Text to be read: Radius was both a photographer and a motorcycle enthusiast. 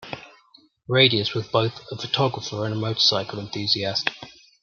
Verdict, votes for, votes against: accepted, 2, 0